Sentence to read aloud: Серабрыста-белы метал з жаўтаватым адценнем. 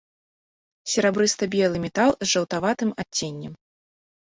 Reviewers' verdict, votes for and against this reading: accepted, 2, 0